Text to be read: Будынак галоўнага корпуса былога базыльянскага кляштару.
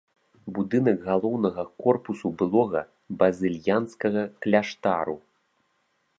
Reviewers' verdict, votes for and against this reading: rejected, 1, 2